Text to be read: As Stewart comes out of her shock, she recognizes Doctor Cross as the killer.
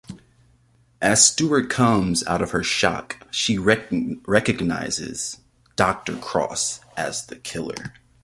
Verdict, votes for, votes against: rejected, 0, 2